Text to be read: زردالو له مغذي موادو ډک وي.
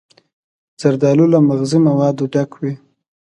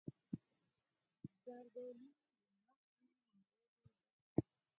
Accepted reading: first